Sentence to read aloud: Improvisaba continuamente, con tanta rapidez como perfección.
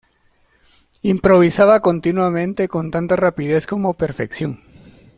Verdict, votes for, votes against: accepted, 2, 0